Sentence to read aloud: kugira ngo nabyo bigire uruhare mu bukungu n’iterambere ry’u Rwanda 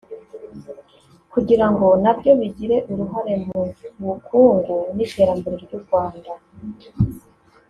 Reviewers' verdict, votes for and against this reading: accepted, 3, 0